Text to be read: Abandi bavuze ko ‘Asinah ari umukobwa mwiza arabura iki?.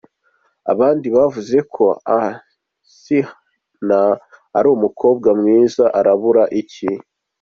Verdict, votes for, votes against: rejected, 1, 2